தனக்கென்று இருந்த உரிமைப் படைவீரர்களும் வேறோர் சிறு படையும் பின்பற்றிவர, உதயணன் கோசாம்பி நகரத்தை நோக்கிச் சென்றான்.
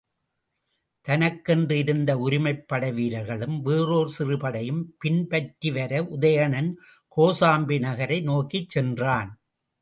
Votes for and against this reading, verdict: 1, 2, rejected